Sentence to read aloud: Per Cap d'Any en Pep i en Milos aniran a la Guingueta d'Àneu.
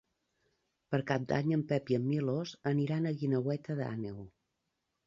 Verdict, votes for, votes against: rejected, 0, 2